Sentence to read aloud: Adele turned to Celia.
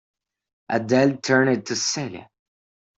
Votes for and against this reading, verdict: 1, 2, rejected